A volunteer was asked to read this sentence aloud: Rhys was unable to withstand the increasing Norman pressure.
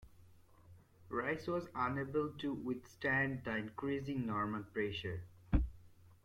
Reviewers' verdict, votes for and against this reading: accepted, 2, 0